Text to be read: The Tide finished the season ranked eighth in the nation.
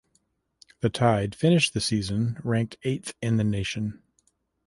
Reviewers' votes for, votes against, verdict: 2, 0, accepted